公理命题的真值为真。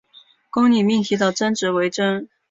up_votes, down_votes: 3, 0